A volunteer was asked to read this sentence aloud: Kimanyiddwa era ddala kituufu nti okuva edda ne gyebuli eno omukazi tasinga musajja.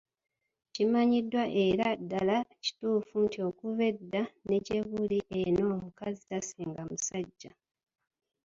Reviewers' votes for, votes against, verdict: 1, 2, rejected